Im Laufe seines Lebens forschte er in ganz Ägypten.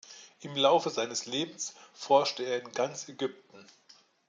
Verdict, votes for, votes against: accepted, 2, 0